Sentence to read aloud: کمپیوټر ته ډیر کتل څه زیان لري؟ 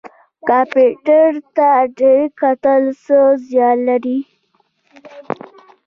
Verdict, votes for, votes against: accepted, 2, 0